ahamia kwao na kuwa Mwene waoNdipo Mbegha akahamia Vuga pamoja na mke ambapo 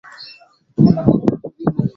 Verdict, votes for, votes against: rejected, 0, 2